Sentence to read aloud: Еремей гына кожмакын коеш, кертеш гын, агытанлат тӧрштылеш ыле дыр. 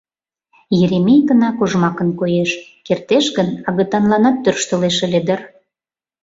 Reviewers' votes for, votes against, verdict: 0, 2, rejected